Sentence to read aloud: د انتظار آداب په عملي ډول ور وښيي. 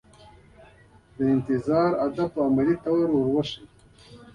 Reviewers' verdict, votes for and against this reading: accepted, 2, 1